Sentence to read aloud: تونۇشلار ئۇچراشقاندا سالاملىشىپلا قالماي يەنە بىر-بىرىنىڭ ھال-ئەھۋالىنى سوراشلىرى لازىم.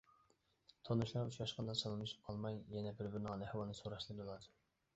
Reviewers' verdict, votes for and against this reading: rejected, 0, 2